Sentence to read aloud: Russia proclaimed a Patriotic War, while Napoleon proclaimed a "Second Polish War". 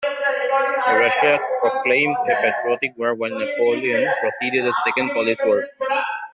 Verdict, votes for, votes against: rejected, 0, 2